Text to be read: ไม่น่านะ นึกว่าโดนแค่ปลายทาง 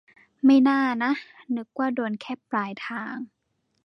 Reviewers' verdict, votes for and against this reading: accepted, 2, 0